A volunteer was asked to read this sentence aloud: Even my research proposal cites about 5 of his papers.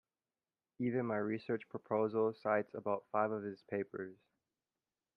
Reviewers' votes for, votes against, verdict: 0, 2, rejected